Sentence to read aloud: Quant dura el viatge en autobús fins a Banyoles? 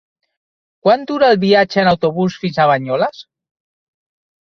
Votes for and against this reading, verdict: 3, 0, accepted